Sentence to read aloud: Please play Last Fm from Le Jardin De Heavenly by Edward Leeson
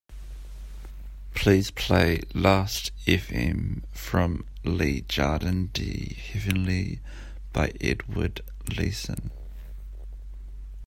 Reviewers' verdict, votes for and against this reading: accepted, 2, 0